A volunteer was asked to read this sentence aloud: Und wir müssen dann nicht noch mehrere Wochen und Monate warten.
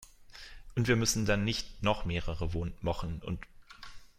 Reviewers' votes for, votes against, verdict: 0, 2, rejected